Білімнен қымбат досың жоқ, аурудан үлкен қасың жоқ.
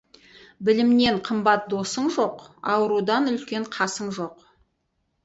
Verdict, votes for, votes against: accepted, 4, 0